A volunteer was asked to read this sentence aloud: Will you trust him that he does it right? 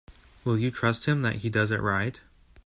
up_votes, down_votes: 2, 1